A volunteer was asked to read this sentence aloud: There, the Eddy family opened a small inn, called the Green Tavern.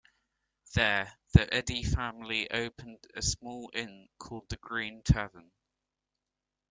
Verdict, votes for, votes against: rejected, 0, 2